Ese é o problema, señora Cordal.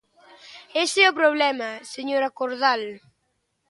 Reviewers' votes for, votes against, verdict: 2, 0, accepted